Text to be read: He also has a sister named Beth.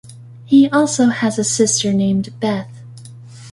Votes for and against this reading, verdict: 2, 0, accepted